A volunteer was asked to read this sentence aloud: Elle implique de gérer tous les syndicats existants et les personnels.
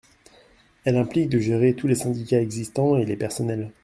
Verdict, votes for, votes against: accepted, 2, 0